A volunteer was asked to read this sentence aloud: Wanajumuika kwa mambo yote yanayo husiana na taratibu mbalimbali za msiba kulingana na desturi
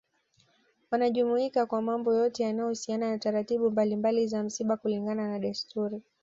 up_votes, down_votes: 2, 0